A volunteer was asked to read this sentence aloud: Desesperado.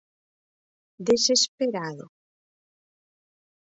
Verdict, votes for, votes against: accepted, 4, 0